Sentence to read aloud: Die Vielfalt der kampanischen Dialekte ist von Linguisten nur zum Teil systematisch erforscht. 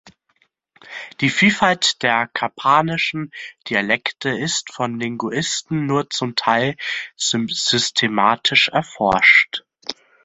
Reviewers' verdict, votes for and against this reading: rejected, 0, 2